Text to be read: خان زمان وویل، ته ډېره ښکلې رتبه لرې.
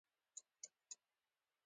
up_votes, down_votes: 0, 3